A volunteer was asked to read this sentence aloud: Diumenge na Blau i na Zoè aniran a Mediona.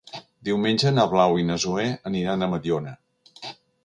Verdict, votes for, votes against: accepted, 2, 0